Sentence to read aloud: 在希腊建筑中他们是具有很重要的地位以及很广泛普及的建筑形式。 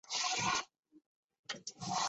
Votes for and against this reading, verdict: 0, 2, rejected